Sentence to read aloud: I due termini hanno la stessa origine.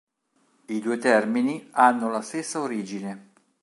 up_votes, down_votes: 2, 0